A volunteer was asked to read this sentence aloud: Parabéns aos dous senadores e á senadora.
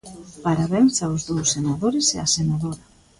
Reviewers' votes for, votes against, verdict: 2, 0, accepted